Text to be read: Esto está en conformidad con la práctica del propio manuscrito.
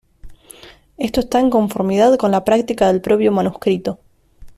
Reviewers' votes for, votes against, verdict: 2, 0, accepted